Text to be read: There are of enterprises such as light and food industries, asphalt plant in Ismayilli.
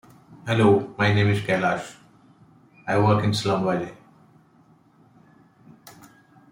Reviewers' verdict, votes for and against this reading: rejected, 0, 2